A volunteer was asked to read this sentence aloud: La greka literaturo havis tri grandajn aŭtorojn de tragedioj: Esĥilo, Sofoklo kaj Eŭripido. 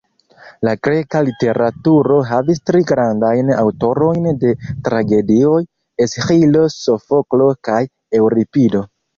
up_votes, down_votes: 2, 1